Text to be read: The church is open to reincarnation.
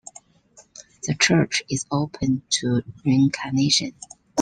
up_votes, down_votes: 2, 0